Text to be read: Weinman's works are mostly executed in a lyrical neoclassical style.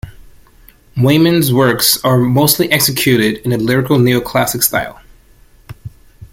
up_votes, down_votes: 0, 2